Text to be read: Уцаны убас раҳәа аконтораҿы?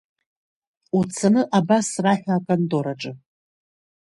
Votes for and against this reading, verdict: 1, 2, rejected